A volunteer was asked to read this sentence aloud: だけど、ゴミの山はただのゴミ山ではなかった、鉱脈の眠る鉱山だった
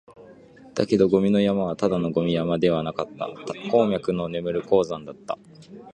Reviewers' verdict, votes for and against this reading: accepted, 3, 0